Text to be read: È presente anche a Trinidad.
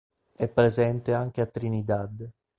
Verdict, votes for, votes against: accepted, 3, 0